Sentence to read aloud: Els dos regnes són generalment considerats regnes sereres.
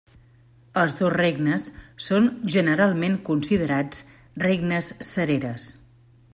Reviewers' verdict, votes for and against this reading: accepted, 2, 0